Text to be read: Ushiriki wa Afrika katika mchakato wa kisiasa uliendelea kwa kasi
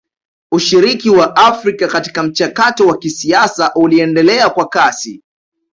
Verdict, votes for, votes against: accepted, 2, 0